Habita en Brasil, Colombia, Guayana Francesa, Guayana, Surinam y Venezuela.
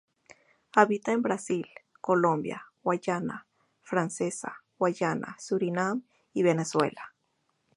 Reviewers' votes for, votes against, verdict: 0, 2, rejected